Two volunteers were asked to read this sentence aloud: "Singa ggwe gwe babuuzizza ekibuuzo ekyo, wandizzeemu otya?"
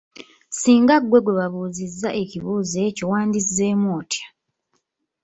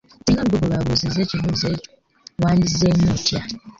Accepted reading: first